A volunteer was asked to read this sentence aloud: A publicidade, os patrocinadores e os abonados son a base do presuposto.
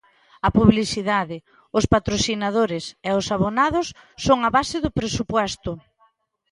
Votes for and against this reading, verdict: 0, 2, rejected